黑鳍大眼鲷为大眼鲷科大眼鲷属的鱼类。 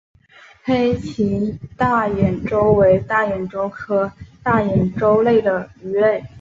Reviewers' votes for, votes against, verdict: 2, 0, accepted